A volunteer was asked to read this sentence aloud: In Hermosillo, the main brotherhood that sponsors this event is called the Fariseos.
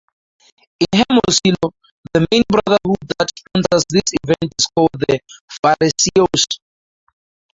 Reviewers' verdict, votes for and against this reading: rejected, 0, 2